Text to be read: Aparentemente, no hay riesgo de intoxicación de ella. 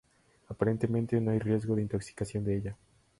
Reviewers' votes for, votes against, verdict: 4, 0, accepted